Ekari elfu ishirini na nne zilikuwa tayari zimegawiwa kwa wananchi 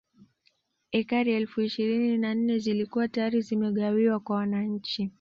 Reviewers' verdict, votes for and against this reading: accepted, 2, 0